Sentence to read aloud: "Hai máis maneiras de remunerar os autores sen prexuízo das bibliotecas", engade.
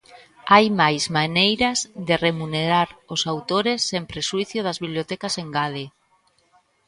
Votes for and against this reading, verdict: 2, 1, accepted